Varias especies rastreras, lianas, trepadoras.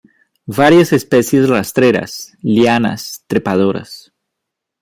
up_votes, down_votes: 2, 0